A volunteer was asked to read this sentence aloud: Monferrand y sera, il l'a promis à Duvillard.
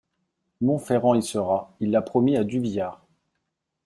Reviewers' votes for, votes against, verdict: 2, 0, accepted